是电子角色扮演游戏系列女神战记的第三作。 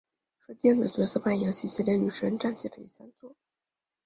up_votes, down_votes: 1, 3